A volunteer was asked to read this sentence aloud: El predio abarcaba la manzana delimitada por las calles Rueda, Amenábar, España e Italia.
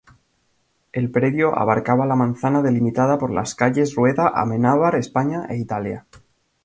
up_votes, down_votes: 2, 0